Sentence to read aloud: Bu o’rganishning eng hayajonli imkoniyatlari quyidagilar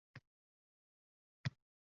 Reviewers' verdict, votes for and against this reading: rejected, 0, 2